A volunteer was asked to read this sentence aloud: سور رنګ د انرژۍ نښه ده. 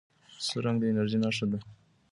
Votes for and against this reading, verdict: 0, 2, rejected